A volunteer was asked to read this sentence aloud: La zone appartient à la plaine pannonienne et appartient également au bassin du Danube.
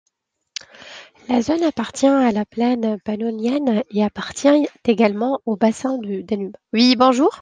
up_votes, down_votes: 0, 2